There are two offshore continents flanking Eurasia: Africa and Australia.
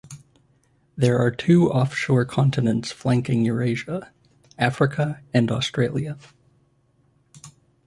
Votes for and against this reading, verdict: 2, 0, accepted